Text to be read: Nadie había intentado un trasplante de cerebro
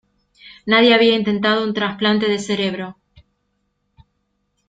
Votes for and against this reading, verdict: 2, 0, accepted